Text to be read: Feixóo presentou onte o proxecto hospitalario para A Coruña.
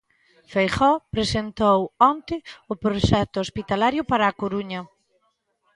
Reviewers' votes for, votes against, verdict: 0, 2, rejected